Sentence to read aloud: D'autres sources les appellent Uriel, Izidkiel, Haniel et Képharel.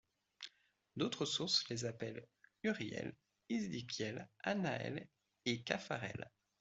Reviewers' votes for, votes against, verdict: 1, 2, rejected